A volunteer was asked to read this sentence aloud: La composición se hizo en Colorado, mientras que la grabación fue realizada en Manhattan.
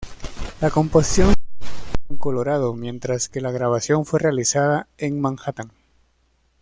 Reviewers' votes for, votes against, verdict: 1, 2, rejected